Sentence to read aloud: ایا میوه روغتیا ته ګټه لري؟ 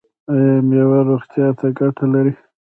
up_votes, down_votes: 0, 2